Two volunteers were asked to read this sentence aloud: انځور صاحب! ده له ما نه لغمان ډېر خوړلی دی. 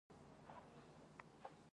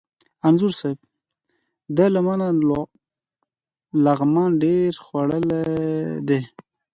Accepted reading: second